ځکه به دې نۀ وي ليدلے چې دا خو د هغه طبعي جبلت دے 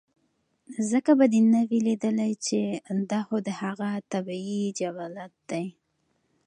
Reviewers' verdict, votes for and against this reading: accepted, 2, 0